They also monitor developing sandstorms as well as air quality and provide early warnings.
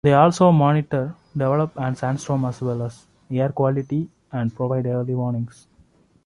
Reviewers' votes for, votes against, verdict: 1, 2, rejected